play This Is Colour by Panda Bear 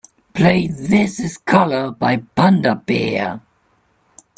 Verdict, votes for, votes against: rejected, 1, 2